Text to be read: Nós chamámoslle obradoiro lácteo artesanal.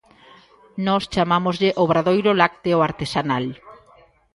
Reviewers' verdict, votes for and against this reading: rejected, 1, 2